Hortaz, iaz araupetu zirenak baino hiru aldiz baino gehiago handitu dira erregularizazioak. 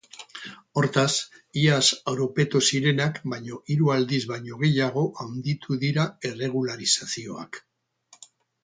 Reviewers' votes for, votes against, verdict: 2, 4, rejected